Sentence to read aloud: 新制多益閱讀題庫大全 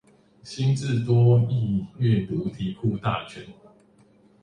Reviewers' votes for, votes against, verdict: 1, 2, rejected